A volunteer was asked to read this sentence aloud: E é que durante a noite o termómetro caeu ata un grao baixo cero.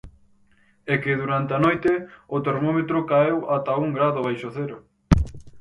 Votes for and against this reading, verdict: 0, 4, rejected